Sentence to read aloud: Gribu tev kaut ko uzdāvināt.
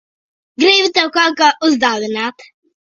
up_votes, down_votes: 0, 2